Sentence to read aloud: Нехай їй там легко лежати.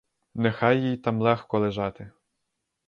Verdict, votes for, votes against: accepted, 4, 0